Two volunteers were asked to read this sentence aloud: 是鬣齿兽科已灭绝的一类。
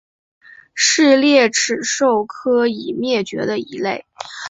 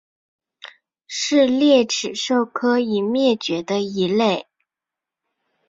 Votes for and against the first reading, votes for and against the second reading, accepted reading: 0, 2, 3, 2, second